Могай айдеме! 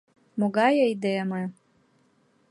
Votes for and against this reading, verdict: 2, 0, accepted